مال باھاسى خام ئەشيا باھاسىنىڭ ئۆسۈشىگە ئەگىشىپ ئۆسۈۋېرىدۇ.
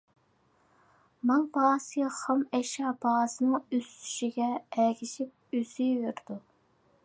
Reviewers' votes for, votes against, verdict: 2, 0, accepted